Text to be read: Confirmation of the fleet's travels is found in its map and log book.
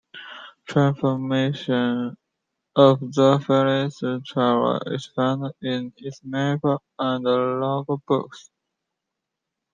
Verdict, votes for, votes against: rejected, 1, 2